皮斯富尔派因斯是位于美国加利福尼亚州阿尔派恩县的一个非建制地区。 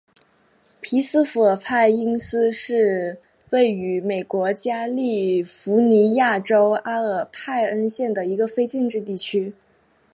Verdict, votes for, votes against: accepted, 3, 0